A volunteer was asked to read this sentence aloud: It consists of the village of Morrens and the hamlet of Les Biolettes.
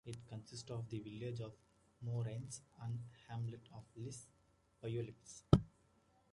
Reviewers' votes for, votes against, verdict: 2, 1, accepted